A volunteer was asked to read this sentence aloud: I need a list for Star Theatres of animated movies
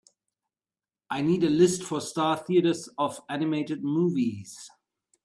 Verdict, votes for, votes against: accepted, 2, 0